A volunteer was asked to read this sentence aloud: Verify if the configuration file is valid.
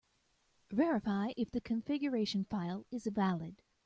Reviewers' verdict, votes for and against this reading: accepted, 2, 0